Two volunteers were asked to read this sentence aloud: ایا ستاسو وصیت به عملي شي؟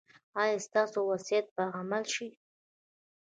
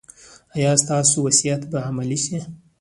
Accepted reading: second